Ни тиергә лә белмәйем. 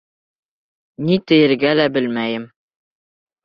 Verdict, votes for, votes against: rejected, 0, 2